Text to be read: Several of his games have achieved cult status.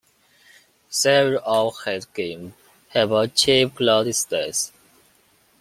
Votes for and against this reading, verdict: 1, 2, rejected